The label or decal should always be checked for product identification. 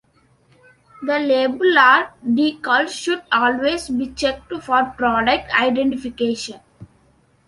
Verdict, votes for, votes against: rejected, 0, 2